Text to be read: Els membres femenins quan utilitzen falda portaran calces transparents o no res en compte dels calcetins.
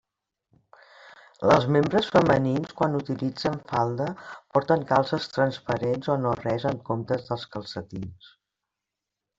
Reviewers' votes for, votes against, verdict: 0, 2, rejected